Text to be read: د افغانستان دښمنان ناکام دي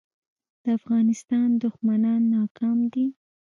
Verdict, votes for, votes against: accepted, 2, 0